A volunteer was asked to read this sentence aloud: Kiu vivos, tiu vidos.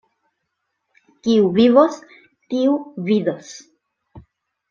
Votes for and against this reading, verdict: 2, 0, accepted